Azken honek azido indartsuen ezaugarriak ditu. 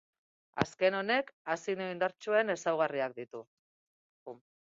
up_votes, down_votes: 0, 6